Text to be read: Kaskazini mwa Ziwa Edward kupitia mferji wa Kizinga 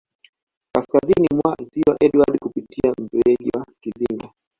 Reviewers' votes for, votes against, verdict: 0, 2, rejected